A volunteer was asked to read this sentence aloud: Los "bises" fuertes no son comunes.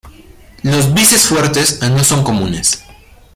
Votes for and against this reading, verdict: 1, 2, rejected